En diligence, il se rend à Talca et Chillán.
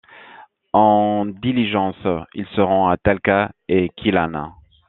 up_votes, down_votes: 2, 1